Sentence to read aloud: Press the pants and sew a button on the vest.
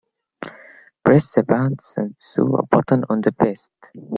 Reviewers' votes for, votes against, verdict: 2, 0, accepted